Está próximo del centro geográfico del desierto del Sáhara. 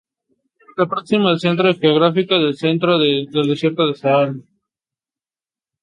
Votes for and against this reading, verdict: 0, 2, rejected